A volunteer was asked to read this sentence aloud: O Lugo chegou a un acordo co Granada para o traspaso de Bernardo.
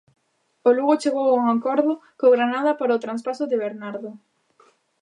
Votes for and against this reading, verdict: 0, 2, rejected